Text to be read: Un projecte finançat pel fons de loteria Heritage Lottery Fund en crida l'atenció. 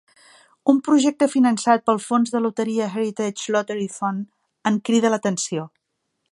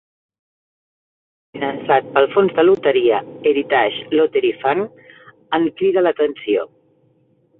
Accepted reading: first